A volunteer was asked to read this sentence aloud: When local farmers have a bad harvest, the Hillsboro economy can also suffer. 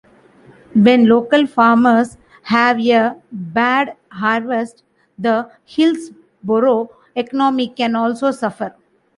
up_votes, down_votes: 2, 0